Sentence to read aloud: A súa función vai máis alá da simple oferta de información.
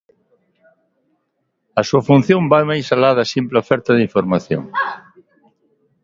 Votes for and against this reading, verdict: 2, 0, accepted